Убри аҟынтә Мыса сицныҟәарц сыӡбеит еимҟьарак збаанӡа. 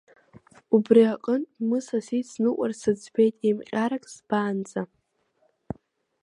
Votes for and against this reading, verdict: 0, 2, rejected